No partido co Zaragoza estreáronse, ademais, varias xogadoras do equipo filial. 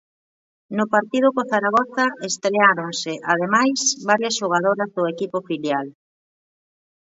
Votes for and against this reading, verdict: 1, 2, rejected